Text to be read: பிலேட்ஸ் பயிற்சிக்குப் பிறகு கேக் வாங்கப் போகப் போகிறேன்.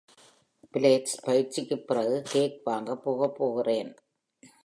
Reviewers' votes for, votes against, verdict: 2, 0, accepted